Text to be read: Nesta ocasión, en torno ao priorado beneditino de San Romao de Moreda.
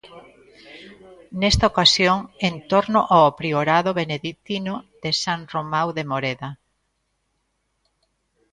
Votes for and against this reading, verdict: 2, 0, accepted